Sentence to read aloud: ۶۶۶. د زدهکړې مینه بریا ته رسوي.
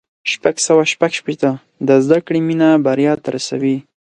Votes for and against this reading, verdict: 0, 2, rejected